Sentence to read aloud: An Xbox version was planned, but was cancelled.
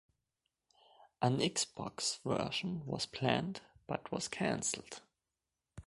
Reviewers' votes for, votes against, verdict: 2, 0, accepted